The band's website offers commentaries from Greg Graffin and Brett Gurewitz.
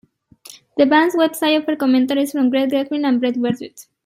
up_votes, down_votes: 0, 2